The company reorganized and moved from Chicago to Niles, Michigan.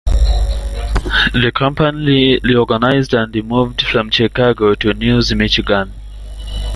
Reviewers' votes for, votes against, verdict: 0, 2, rejected